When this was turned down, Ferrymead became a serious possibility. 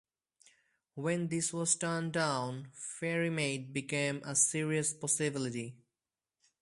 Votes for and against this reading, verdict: 4, 0, accepted